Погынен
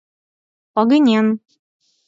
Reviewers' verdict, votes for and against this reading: rejected, 2, 4